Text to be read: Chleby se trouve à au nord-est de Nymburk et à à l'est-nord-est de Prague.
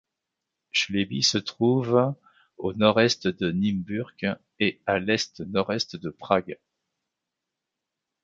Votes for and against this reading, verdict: 0, 2, rejected